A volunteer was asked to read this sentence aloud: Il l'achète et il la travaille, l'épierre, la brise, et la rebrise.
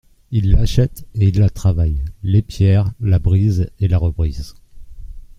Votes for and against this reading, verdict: 2, 0, accepted